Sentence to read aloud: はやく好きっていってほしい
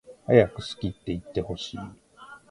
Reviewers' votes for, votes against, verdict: 2, 1, accepted